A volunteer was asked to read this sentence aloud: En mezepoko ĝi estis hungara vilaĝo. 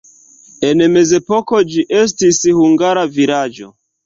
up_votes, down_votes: 3, 0